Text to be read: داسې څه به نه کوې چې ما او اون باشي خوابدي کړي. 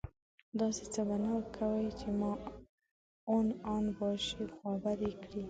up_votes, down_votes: 1, 2